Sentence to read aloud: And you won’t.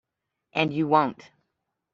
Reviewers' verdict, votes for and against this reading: accepted, 2, 1